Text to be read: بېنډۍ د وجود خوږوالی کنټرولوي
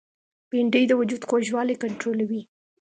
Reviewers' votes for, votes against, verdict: 2, 0, accepted